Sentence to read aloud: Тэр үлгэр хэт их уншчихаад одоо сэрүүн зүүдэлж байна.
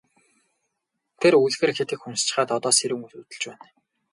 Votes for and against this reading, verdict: 2, 0, accepted